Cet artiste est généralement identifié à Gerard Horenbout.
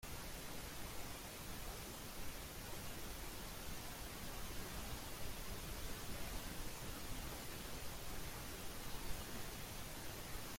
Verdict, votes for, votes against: rejected, 1, 2